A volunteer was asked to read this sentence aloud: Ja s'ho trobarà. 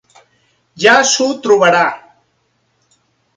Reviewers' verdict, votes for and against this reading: accepted, 3, 0